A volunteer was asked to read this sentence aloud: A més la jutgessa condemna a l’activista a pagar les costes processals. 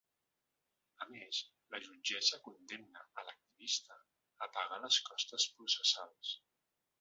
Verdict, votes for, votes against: rejected, 1, 2